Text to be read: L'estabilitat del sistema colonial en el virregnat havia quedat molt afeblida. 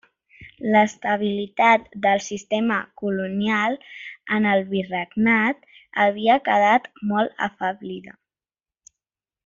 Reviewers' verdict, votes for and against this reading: accepted, 2, 0